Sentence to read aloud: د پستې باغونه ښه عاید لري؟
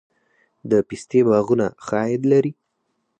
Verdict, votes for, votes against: accepted, 4, 0